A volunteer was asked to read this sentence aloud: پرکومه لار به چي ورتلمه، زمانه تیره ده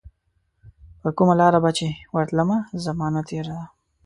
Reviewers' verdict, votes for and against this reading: accepted, 2, 0